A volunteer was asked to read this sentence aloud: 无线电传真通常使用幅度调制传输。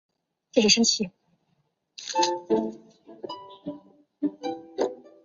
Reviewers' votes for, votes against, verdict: 4, 7, rejected